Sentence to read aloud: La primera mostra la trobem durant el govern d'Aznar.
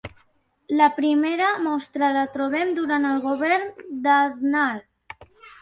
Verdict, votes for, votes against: accepted, 2, 0